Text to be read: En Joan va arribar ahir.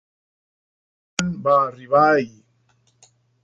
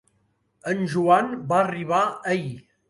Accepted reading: second